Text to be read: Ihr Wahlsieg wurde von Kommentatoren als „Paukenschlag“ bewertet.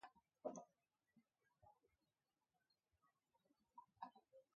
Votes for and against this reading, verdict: 0, 2, rejected